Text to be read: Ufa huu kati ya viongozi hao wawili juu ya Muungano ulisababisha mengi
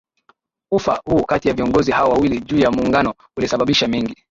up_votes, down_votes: 2, 0